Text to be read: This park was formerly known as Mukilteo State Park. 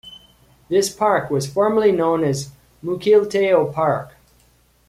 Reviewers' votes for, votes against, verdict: 2, 3, rejected